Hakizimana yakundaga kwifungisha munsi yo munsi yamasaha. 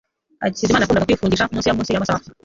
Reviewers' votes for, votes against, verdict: 0, 2, rejected